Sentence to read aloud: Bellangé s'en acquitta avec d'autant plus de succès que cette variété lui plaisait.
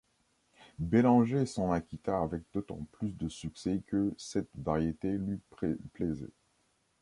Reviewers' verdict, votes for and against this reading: rejected, 0, 2